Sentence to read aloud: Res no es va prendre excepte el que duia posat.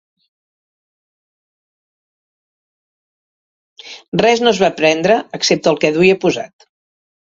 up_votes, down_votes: 2, 1